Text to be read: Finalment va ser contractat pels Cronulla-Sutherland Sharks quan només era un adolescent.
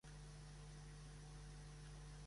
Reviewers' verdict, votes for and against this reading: rejected, 1, 2